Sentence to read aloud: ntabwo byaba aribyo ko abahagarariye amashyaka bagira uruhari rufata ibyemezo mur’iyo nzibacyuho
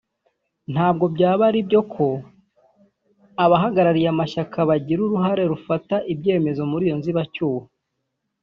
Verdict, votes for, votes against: rejected, 1, 2